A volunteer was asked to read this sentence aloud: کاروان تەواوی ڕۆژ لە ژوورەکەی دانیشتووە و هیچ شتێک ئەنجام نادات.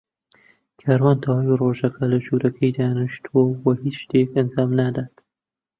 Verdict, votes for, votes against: rejected, 1, 2